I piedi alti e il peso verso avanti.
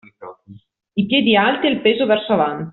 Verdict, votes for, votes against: rejected, 0, 2